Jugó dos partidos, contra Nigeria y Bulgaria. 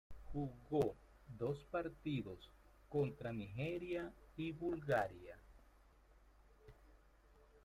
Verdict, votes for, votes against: rejected, 0, 2